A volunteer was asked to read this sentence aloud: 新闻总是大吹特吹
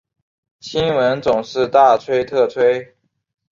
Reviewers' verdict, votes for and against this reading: accepted, 2, 0